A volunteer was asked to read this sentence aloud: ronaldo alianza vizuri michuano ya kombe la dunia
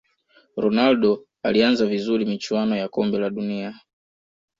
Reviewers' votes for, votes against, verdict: 2, 0, accepted